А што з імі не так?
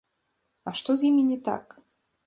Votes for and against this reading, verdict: 1, 2, rejected